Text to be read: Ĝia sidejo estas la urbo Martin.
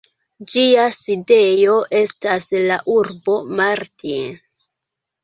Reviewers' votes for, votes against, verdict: 2, 0, accepted